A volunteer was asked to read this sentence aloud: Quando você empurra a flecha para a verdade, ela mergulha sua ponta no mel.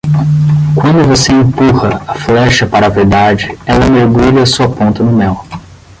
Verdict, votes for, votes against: accepted, 10, 0